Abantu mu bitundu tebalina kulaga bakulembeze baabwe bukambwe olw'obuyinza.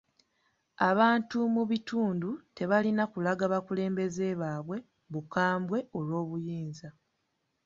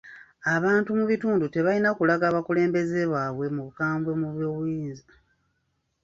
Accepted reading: first